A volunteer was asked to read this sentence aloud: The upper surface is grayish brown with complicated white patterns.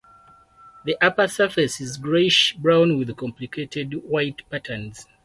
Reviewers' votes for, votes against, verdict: 4, 0, accepted